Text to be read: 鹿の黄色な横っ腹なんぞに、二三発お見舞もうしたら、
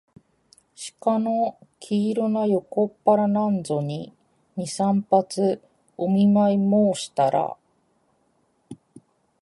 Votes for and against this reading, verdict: 2, 0, accepted